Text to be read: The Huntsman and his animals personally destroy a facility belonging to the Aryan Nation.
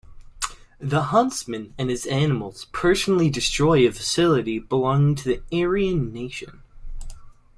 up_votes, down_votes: 2, 0